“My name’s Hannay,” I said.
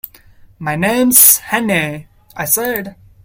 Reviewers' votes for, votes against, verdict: 2, 1, accepted